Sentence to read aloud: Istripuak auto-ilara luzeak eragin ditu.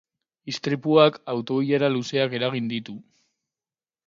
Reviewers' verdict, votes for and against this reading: rejected, 2, 2